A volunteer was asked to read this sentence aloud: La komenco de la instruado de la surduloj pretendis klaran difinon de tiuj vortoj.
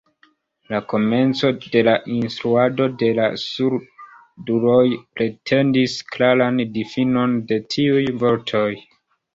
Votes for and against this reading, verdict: 2, 0, accepted